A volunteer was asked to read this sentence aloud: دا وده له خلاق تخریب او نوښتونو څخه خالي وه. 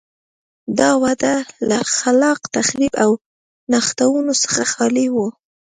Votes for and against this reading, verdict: 0, 2, rejected